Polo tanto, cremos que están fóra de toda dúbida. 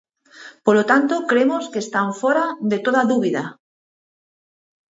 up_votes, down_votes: 4, 0